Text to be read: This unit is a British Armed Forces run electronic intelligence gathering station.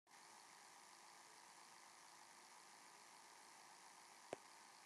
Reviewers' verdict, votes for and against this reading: rejected, 0, 2